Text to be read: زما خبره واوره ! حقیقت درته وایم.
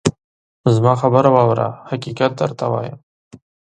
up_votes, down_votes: 4, 0